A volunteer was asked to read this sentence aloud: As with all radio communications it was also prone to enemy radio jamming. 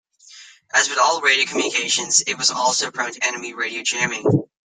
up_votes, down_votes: 0, 2